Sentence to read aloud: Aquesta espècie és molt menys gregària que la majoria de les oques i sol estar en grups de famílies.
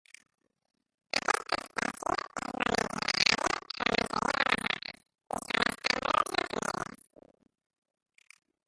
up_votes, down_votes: 0, 2